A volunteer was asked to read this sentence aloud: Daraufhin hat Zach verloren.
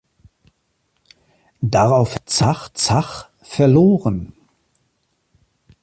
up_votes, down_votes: 0, 2